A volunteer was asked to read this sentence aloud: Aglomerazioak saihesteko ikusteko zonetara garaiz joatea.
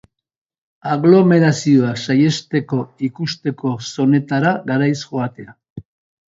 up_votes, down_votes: 4, 1